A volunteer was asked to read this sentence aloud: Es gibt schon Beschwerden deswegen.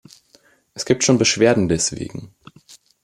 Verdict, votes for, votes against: accepted, 2, 0